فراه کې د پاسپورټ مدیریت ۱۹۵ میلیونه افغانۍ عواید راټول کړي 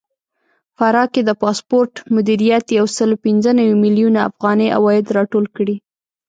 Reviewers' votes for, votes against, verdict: 0, 2, rejected